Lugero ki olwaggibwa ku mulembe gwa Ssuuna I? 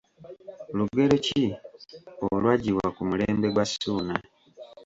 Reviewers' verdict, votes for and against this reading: accepted, 2, 0